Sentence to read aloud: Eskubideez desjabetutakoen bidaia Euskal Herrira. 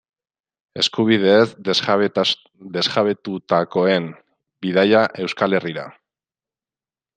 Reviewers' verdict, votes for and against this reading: rejected, 0, 2